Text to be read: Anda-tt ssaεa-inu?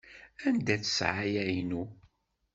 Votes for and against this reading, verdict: 1, 2, rejected